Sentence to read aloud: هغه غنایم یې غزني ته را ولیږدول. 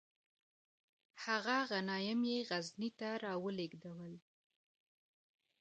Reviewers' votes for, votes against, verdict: 1, 2, rejected